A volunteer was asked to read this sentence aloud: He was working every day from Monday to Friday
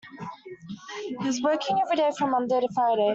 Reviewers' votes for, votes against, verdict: 1, 2, rejected